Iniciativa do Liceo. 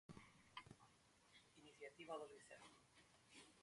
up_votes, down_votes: 0, 2